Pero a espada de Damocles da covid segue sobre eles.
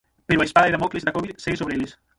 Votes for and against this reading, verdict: 0, 6, rejected